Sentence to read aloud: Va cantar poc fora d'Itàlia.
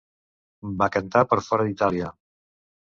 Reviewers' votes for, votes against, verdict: 1, 2, rejected